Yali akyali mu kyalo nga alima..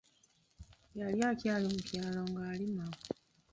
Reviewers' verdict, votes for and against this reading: rejected, 1, 2